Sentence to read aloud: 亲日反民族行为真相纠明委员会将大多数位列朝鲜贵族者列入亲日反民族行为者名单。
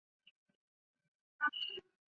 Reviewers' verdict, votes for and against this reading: rejected, 0, 2